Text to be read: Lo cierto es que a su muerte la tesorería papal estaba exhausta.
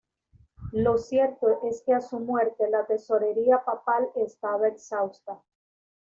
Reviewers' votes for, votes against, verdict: 2, 0, accepted